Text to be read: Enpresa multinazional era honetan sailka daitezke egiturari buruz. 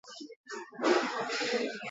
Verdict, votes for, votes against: rejected, 0, 2